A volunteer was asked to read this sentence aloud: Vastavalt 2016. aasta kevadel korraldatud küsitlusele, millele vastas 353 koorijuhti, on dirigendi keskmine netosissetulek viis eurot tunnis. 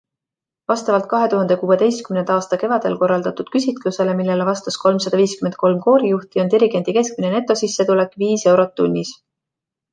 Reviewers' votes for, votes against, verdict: 0, 2, rejected